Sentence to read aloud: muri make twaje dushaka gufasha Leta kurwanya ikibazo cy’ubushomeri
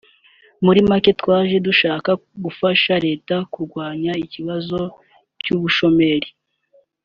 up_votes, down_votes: 2, 0